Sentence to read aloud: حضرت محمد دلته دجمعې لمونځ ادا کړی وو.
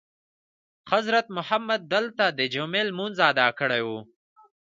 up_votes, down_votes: 2, 0